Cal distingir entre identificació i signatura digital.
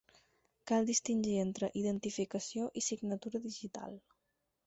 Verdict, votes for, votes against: accepted, 4, 0